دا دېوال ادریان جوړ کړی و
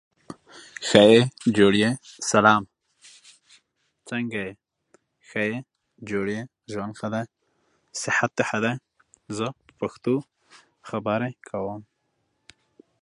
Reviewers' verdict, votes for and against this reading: rejected, 0, 2